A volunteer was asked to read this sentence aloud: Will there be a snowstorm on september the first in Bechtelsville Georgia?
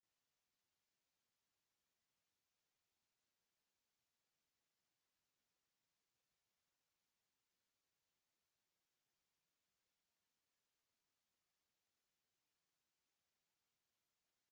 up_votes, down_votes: 0, 2